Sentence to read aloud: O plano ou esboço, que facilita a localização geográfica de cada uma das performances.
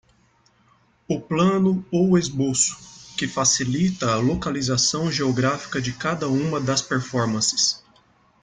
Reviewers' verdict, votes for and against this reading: accepted, 2, 0